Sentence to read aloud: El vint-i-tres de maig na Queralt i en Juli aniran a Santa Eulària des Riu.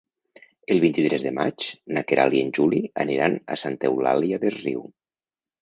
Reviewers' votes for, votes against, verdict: 0, 2, rejected